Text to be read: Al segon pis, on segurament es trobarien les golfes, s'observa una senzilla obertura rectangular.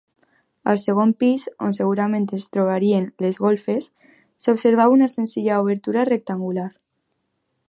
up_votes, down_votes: 2, 1